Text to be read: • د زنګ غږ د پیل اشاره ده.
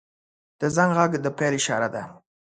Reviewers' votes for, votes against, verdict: 2, 0, accepted